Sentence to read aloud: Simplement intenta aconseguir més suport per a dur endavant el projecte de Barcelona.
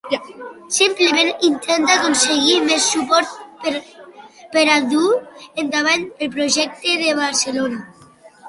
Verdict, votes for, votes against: rejected, 0, 2